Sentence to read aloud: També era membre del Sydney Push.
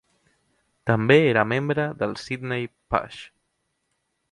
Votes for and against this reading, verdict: 0, 2, rejected